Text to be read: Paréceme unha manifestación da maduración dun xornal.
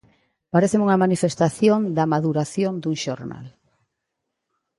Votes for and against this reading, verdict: 2, 0, accepted